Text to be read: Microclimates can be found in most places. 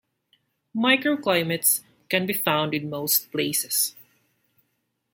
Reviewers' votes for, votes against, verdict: 3, 0, accepted